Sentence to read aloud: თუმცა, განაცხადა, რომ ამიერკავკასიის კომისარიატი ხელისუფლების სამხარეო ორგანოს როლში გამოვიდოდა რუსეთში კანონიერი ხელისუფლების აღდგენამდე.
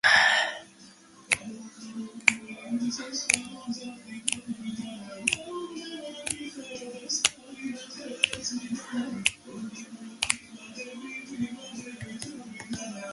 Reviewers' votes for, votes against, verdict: 0, 2, rejected